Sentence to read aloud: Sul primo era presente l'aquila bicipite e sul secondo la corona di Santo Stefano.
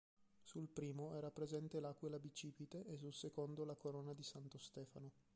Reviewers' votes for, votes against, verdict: 2, 4, rejected